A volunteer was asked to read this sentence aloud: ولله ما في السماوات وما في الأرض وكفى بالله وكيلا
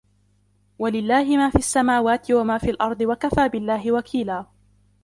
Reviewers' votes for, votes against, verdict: 2, 0, accepted